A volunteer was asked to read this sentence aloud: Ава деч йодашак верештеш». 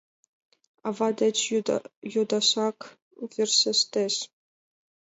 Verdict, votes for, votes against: rejected, 0, 2